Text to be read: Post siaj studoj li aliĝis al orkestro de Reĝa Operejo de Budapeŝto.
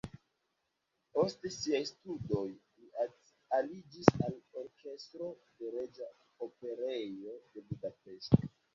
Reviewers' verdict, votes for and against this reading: rejected, 1, 2